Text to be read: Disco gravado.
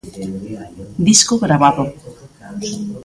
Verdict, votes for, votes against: rejected, 1, 2